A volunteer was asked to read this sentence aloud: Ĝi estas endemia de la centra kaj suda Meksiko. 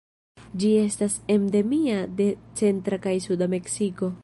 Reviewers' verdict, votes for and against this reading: rejected, 0, 2